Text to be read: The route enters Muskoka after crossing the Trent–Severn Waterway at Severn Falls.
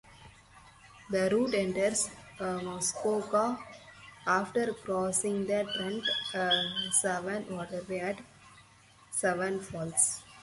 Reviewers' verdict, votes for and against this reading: rejected, 2, 2